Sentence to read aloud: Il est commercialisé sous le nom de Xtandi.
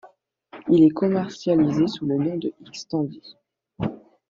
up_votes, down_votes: 2, 0